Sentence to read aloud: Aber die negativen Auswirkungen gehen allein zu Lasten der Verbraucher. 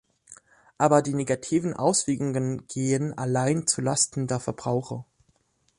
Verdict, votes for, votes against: rejected, 0, 2